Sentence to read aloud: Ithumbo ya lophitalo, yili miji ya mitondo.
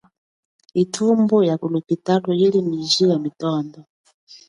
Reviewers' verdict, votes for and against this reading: accepted, 2, 0